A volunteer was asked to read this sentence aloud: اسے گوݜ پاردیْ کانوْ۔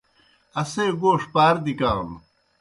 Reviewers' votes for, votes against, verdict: 2, 0, accepted